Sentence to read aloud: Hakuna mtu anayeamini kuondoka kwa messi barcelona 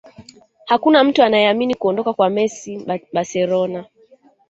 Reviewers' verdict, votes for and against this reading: accepted, 2, 0